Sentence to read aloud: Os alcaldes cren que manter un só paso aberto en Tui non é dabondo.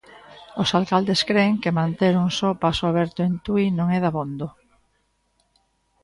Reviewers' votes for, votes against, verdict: 1, 2, rejected